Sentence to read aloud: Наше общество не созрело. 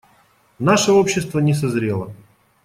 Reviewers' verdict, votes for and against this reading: accepted, 2, 0